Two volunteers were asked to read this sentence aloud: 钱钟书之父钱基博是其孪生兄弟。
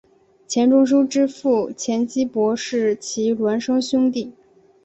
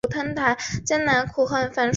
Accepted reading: first